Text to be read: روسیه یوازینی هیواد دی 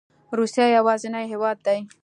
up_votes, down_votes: 2, 0